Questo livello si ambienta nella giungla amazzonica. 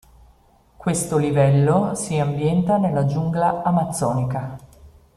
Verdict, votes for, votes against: accepted, 2, 0